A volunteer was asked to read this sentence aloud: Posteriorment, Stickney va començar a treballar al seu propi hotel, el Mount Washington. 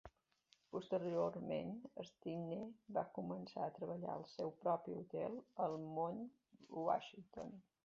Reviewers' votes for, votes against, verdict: 2, 0, accepted